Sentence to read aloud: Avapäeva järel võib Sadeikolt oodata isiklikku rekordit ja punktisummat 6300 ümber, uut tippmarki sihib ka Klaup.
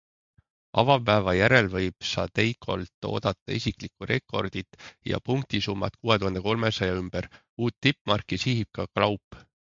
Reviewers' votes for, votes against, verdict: 0, 2, rejected